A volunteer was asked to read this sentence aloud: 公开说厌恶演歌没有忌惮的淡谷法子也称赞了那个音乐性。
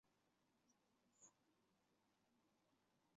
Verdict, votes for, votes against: rejected, 0, 5